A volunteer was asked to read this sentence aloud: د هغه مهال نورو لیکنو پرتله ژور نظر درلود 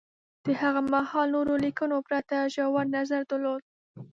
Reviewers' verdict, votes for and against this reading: rejected, 1, 2